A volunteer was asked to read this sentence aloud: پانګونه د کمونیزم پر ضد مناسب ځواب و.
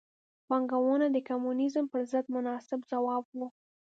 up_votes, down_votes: 2, 0